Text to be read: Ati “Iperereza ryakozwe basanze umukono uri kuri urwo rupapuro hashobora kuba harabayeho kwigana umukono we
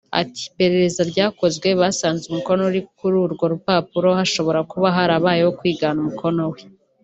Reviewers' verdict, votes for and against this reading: accepted, 2, 0